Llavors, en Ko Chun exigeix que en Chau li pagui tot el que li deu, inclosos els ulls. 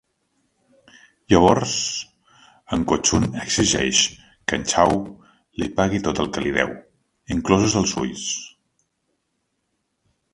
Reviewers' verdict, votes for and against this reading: accepted, 2, 0